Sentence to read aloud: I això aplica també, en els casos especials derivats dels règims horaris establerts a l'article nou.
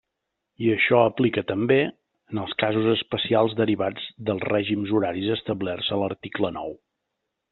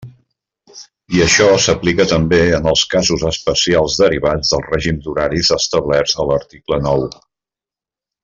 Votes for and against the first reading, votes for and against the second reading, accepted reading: 3, 0, 0, 2, first